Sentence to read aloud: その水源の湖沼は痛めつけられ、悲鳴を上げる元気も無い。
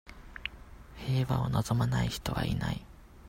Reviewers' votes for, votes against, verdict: 0, 2, rejected